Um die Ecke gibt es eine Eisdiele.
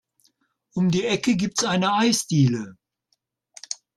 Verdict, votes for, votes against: rejected, 0, 2